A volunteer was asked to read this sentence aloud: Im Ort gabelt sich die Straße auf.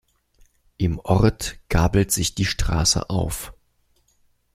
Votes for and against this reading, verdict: 2, 0, accepted